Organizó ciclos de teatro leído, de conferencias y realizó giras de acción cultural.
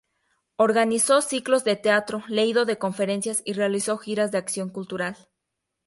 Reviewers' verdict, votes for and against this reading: accepted, 2, 0